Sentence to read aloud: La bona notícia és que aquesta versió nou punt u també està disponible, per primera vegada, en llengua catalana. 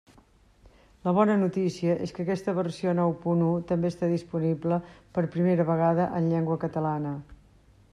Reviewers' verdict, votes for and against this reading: accepted, 3, 0